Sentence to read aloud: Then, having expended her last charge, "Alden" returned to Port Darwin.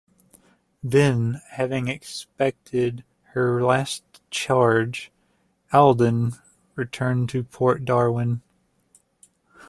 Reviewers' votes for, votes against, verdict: 2, 0, accepted